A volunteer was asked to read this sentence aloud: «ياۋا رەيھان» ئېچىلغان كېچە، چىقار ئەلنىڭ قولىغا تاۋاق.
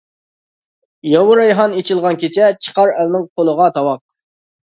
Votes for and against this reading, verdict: 2, 0, accepted